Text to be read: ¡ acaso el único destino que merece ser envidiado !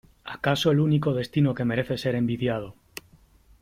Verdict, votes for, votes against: accepted, 3, 0